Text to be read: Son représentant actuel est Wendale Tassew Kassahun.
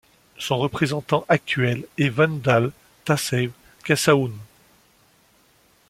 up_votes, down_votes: 2, 0